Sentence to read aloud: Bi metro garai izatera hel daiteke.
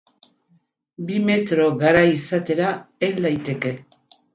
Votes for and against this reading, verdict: 6, 0, accepted